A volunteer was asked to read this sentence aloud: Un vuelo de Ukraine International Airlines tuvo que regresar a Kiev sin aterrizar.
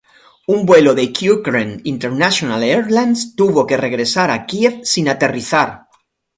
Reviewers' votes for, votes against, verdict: 2, 0, accepted